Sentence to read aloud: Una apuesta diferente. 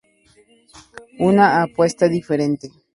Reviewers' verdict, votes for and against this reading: accepted, 2, 0